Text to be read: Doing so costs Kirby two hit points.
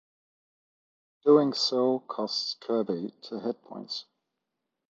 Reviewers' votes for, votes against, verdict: 1, 2, rejected